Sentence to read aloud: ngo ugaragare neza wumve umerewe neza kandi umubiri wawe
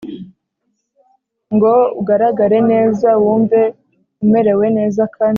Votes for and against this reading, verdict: 1, 2, rejected